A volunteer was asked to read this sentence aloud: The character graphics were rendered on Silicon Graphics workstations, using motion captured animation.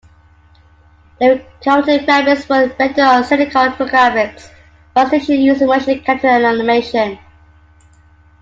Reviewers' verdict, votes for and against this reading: rejected, 0, 2